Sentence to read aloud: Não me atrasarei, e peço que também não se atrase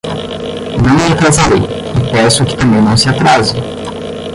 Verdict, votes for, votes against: rejected, 5, 10